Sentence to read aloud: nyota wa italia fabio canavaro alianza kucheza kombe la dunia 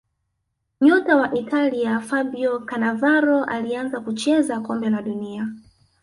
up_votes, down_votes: 2, 1